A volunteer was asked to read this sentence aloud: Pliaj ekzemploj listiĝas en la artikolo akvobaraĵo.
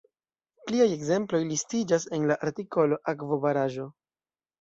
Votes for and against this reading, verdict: 1, 2, rejected